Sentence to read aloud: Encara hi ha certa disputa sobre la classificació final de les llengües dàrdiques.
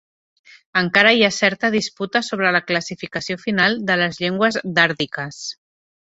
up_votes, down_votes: 2, 0